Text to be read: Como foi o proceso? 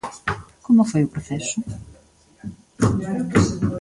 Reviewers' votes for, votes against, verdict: 2, 0, accepted